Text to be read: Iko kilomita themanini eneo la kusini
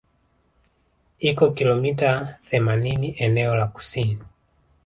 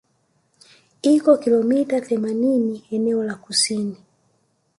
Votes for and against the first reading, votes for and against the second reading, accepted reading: 4, 0, 1, 2, first